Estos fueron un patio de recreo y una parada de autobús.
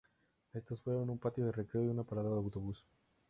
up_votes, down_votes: 2, 0